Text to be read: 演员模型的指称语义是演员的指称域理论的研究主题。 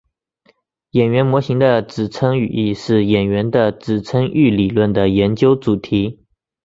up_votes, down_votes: 2, 0